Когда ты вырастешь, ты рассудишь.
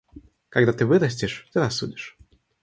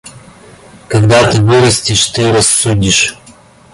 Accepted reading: second